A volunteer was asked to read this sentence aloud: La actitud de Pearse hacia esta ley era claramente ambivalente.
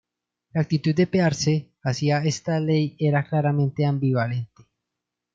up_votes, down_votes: 1, 2